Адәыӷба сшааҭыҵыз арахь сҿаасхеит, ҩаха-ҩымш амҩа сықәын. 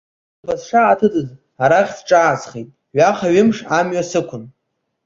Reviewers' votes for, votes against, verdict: 1, 2, rejected